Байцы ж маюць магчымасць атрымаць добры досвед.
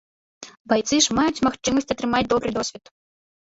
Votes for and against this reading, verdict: 1, 2, rejected